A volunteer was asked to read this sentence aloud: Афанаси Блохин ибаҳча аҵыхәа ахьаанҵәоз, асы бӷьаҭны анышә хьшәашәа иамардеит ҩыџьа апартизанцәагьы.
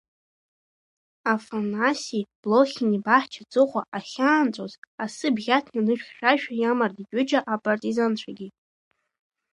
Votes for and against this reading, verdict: 1, 2, rejected